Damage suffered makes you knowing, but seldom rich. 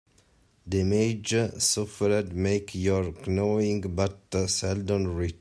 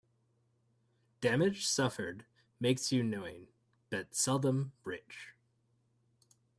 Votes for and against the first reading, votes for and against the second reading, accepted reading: 0, 2, 2, 0, second